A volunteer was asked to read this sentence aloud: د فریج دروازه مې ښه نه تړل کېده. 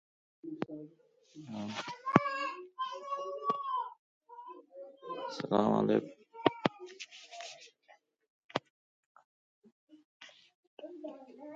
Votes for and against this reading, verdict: 0, 2, rejected